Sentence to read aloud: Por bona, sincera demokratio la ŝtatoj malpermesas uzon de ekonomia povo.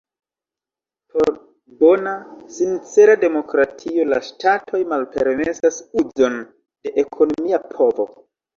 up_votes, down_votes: 2, 1